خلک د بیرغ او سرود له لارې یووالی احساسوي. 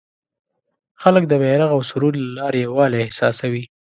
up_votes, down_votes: 2, 0